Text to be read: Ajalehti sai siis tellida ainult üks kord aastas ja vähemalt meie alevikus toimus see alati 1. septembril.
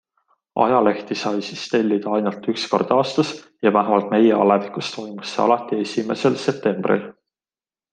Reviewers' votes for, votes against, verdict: 0, 2, rejected